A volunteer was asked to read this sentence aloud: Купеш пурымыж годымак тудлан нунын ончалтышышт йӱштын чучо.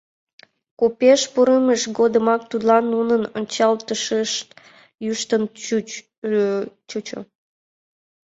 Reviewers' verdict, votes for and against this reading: rejected, 1, 4